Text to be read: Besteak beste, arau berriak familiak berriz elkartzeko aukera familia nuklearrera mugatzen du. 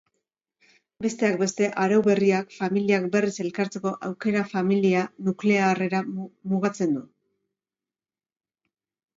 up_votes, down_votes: 2, 3